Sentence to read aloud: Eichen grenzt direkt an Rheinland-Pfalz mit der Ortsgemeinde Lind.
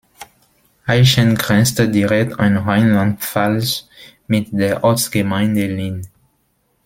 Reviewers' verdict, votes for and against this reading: rejected, 1, 2